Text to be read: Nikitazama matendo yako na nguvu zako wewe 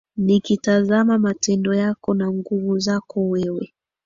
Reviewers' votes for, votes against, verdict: 2, 0, accepted